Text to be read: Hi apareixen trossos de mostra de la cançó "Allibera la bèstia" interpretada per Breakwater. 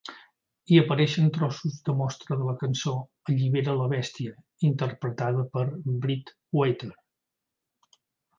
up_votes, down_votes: 3, 1